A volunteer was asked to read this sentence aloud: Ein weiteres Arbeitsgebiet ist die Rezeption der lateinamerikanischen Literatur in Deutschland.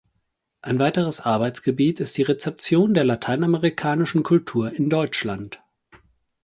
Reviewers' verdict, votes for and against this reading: rejected, 0, 4